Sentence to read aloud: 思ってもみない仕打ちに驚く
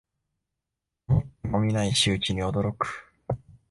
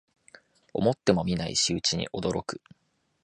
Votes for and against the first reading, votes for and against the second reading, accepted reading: 1, 2, 2, 0, second